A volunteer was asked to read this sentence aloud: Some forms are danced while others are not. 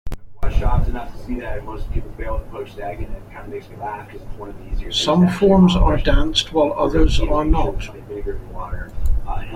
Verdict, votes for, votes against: rejected, 0, 2